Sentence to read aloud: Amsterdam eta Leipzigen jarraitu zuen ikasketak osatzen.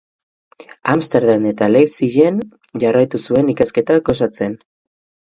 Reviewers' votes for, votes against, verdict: 2, 0, accepted